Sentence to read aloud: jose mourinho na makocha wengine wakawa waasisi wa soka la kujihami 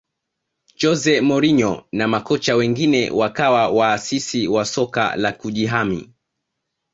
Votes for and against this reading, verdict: 2, 0, accepted